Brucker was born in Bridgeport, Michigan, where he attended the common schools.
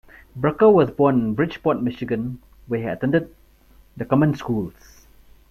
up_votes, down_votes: 0, 2